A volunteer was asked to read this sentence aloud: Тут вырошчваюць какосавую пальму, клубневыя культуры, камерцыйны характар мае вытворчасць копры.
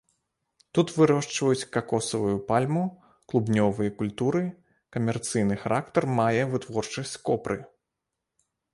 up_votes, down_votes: 1, 2